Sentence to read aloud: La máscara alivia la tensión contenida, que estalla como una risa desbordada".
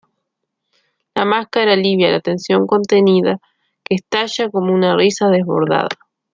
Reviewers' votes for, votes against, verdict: 2, 1, accepted